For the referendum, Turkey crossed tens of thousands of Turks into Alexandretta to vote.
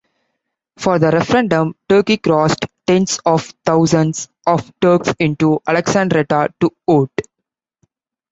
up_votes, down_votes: 2, 0